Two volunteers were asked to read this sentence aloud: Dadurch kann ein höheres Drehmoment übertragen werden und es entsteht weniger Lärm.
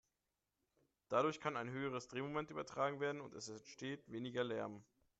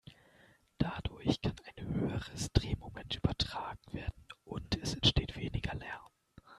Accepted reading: first